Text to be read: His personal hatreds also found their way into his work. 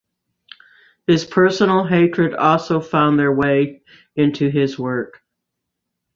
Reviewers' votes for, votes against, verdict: 0, 2, rejected